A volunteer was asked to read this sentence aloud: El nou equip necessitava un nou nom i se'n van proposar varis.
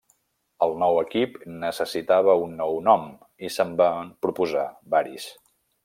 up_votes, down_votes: 2, 3